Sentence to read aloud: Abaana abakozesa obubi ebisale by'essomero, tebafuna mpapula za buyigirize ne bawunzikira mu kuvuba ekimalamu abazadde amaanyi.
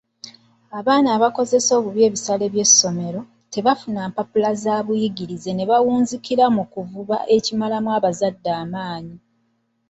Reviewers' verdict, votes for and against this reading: accepted, 2, 1